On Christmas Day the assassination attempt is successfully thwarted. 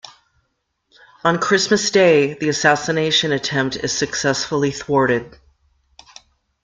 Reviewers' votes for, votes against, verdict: 2, 0, accepted